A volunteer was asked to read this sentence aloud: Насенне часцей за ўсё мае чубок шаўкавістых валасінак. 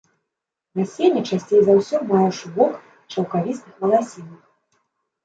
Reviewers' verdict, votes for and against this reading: rejected, 1, 2